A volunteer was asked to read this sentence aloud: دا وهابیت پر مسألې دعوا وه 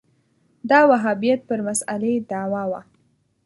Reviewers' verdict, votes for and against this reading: accepted, 2, 0